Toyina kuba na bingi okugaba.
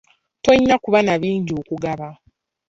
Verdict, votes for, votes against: accepted, 3, 0